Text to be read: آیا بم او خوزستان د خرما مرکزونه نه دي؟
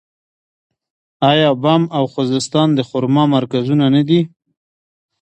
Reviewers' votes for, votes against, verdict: 0, 2, rejected